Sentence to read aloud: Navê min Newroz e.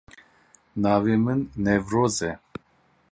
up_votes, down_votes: 0, 2